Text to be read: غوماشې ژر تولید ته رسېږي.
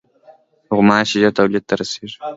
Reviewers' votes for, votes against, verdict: 0, 2, rejected